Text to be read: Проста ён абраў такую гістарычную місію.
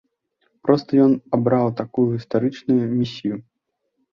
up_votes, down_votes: 2, 0